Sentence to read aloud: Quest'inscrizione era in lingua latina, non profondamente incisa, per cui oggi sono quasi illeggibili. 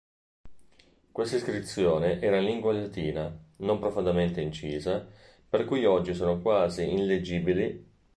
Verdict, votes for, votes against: accepted, 2, 1